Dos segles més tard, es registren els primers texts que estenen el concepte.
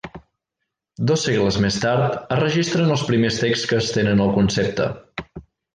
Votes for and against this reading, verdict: 2, 0, accepted